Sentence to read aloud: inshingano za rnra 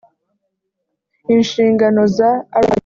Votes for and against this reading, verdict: 0, 2, rejected